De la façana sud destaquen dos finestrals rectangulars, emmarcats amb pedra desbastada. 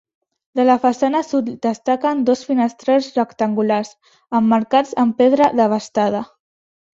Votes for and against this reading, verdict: 0, 3, rejected